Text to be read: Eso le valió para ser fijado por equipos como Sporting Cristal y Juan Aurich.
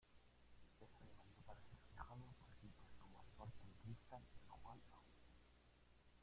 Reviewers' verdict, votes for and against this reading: rejected, 0, 2